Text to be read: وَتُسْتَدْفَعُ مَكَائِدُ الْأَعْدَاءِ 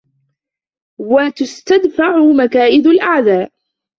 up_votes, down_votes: 0, 2